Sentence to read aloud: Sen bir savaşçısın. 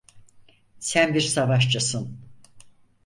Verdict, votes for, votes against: accepted, 4, 0